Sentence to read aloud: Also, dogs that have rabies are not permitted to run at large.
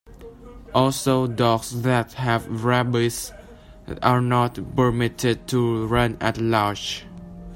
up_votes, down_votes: 0, 2